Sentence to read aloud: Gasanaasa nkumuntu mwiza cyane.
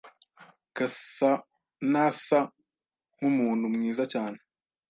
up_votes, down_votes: 2, 0